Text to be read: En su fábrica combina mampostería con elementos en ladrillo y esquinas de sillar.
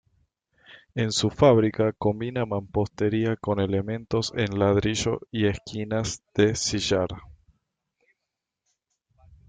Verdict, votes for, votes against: accepted, 2, 0